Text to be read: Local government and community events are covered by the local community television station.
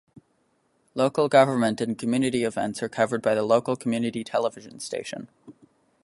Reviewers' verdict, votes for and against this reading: accepted, 3, 0